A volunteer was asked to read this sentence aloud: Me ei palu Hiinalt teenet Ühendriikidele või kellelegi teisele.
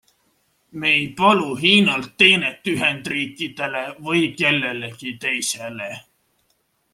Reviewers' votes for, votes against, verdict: 2, 0, accepted